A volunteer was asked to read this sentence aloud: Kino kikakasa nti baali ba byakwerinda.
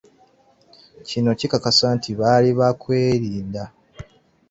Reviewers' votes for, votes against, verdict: 2, 1, accepted